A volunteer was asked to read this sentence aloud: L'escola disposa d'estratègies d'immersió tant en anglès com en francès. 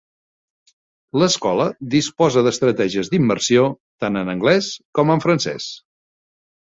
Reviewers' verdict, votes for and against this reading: accepted, 2, 0